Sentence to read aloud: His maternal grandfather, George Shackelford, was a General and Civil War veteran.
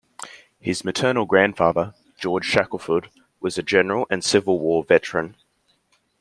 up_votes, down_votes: 2, 0